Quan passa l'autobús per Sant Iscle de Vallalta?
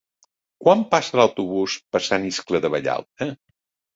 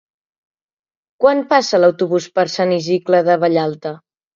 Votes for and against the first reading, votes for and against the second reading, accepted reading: 0, 2, 4, 2, second